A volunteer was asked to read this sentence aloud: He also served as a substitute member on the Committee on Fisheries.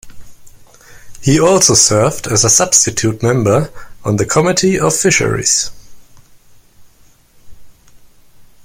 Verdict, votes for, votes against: accepted, 2, 0